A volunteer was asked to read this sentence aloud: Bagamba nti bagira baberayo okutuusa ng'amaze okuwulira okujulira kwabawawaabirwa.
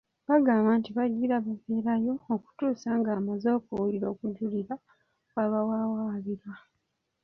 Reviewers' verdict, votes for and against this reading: rejected, 0, 2